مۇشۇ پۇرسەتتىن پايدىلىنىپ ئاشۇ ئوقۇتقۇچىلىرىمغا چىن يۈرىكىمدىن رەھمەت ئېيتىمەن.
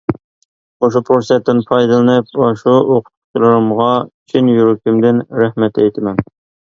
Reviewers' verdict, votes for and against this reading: accepted, 2, 0